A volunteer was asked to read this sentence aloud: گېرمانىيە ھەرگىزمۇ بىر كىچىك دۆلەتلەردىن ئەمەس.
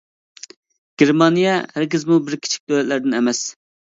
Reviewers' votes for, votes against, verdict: 2, 0, accepted